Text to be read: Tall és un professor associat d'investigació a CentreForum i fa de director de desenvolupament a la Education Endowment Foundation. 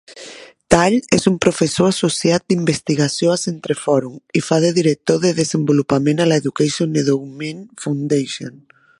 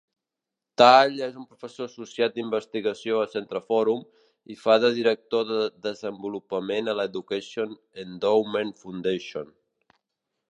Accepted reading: first